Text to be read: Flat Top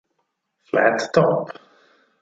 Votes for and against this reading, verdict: 6, 0, accepted